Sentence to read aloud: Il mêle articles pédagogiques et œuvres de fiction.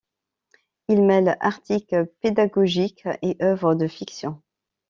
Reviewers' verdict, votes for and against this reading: accepted, 2, 0